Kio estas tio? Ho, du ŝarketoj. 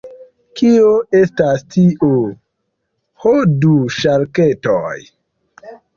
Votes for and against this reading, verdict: 2, 1, accepted